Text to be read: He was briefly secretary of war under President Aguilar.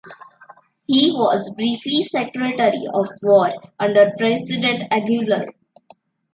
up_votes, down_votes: 1, 2